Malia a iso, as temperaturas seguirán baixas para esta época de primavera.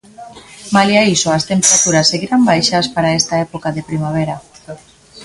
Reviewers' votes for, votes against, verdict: 1, 2, rejected